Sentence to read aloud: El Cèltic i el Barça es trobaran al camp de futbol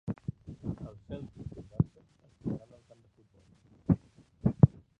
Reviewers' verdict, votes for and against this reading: rejected, 1, 2